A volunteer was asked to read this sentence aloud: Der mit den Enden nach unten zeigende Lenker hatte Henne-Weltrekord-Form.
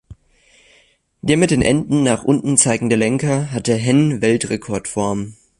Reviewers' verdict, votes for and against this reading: rejected, 1, 2